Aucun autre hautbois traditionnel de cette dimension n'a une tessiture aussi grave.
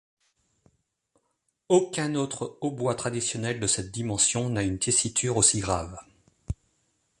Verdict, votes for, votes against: accepted, 2, 0